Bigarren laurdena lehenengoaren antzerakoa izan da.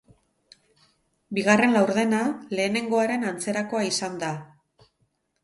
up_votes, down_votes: 2, 0